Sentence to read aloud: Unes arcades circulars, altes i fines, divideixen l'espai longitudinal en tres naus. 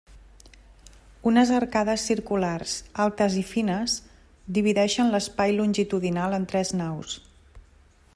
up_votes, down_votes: 3, 0